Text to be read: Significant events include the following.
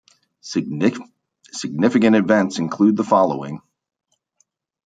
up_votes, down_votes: 0, 2